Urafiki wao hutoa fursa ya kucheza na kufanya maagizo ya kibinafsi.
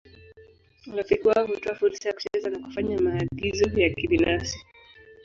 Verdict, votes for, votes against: accepted, 3, 2